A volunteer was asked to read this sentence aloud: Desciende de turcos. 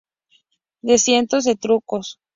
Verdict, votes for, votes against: rejected, 0, 2